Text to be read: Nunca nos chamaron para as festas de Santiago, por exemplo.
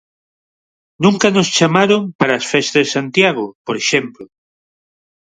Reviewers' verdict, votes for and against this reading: accepted, 4, 2